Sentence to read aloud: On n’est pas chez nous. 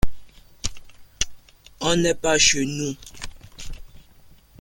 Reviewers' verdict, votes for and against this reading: rejected, 1, 2